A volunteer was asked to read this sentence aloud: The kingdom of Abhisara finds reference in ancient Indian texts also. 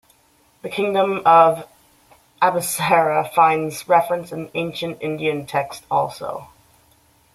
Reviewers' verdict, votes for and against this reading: accepted, 2, 1